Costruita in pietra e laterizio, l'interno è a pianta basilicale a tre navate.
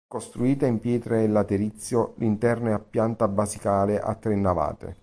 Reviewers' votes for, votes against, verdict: 0, 2, rejected